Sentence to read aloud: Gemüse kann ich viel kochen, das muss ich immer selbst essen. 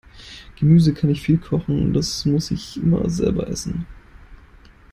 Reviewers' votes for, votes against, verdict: 0, 2, rejected